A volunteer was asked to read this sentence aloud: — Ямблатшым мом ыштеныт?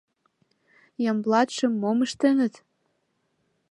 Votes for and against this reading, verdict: 2, 0, accepted